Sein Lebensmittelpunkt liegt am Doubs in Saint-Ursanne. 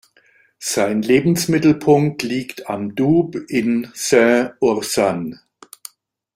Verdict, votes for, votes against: rejected, 0, 2